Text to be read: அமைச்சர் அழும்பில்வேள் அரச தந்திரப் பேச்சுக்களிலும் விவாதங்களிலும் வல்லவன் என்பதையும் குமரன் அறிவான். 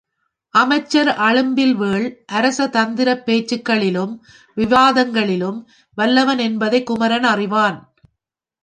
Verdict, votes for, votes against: accepted, 2, 0